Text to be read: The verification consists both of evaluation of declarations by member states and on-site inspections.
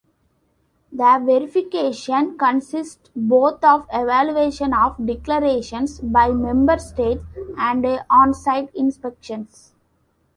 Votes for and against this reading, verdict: 2, 0, accepted